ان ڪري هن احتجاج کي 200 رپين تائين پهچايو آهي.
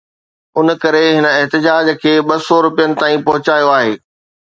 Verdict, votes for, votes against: rejected, 0, 2